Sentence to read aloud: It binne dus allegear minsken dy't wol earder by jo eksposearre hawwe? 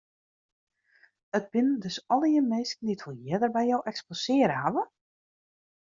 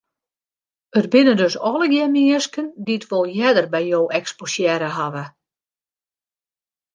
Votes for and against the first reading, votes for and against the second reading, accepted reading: 2, 1, 1, 2, first